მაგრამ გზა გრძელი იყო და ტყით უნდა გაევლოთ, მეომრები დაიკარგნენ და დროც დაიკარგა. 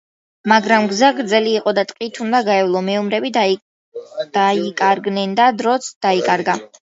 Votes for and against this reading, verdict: 0, 2, rejected